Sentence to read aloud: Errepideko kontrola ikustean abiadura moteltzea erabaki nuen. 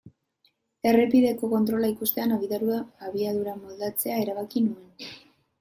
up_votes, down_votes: 0, 2